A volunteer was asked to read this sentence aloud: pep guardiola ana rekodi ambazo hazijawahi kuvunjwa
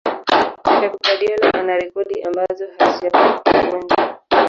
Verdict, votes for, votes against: rejected, 1, 3